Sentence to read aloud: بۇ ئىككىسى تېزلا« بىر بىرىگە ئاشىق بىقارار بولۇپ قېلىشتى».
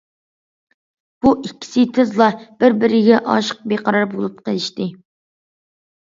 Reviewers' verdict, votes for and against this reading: accepted, 2, 0